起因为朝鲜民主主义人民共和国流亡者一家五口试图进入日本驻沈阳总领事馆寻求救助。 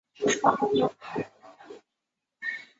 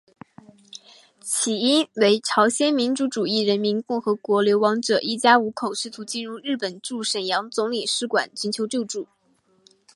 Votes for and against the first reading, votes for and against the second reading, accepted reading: 1, 2, 3, 0, second